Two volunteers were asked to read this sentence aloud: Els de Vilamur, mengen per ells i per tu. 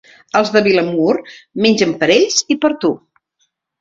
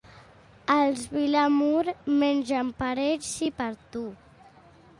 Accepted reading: first